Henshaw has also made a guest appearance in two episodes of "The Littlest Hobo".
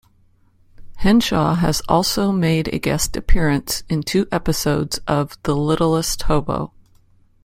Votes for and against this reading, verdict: 2, 0, accepted